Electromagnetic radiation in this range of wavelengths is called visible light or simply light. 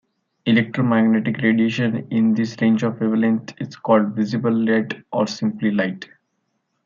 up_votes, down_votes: 1, 2